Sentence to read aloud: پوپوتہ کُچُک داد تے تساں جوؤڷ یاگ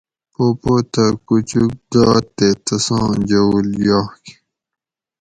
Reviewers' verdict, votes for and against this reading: accepted, 4, 0